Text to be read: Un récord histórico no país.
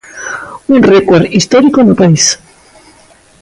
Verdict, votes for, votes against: accepted, 2, 0